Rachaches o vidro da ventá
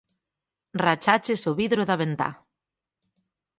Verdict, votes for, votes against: accepted, 4, 0